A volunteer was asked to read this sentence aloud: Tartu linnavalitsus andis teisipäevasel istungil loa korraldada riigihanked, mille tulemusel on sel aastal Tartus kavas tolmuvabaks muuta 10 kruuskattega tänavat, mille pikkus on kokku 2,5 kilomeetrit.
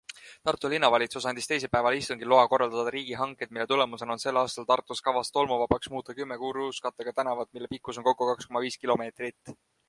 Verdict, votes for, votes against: rejected, 0, 2